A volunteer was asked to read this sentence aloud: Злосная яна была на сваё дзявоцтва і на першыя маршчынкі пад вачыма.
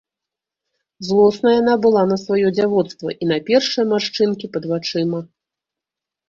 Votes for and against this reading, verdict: 0, 2, rejected